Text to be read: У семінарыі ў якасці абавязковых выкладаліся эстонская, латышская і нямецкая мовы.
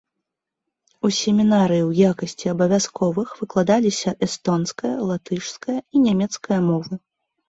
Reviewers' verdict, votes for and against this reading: accepted, 2, 0